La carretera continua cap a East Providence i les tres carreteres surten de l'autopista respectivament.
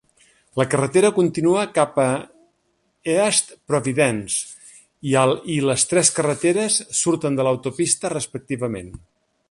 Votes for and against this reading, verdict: 0, 2, rejected